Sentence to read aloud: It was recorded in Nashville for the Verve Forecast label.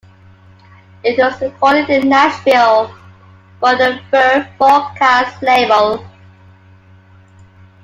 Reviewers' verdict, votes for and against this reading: accepted, 2, 0